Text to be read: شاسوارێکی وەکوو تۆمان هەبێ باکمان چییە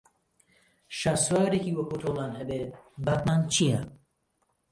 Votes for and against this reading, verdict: 1, 2, rejected